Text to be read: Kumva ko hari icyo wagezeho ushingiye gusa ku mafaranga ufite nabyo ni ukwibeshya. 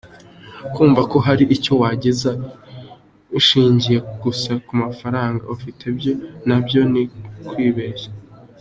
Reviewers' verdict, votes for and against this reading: rejected, 1, 2